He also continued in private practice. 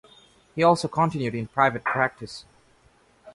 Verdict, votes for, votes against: accepted, 2, 0